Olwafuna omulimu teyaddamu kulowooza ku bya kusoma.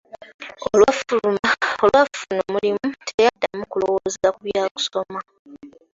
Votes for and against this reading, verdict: 0, 2, rejected